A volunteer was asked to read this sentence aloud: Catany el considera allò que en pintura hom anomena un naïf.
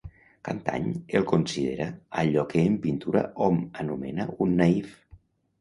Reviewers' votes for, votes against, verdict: 2, 0, accepted